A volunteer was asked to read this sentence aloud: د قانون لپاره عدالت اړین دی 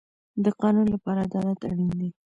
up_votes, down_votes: 1, 2